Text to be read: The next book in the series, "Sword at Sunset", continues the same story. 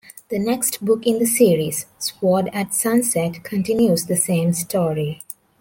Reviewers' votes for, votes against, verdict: 2, 0, accepted